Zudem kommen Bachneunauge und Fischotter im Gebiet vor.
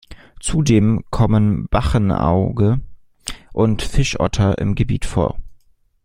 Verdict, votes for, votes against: rejected, 0, 2